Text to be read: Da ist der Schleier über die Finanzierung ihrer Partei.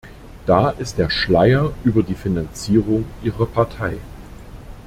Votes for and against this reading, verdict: 2, 0, accepted